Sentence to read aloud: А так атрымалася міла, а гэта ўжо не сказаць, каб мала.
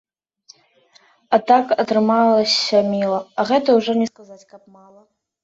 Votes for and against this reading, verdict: 2, 1, accepted